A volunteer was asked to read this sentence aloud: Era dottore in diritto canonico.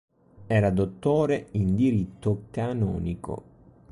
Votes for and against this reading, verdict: 2, 0, accepted